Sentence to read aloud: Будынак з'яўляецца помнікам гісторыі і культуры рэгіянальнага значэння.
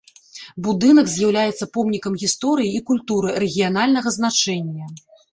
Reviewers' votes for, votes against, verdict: 2, 0, accepted